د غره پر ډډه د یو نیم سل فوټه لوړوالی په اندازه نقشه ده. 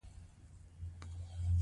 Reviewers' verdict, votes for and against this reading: accepted, 2, 0